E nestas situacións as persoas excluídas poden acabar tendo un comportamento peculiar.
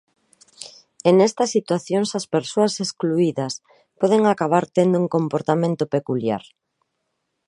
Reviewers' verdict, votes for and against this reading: accepted, 2, 0